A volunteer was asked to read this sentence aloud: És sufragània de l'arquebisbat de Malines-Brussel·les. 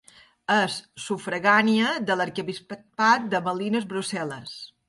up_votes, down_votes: 0, 2